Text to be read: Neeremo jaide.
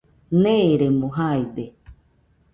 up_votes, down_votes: 2, 0